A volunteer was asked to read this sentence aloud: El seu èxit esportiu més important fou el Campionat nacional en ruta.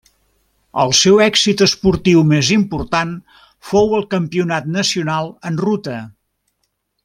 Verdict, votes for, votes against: rejected, 1, 2